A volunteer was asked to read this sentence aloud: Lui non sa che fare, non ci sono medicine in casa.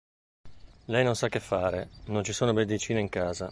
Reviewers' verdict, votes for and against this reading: rejected, 0, 2